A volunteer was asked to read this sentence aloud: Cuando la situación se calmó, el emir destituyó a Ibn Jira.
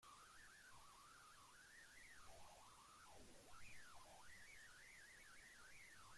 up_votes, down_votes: 0, 2